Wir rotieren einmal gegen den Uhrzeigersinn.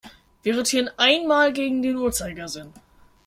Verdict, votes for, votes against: accepted, 2, 0